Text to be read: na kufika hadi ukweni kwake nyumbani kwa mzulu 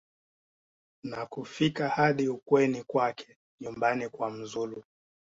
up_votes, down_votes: 2, 0